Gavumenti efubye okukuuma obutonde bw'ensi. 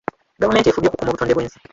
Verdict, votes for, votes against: rejected, 0, 2